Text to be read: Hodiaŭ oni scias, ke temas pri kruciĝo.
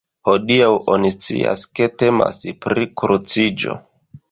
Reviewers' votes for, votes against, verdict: 0, 2, rejected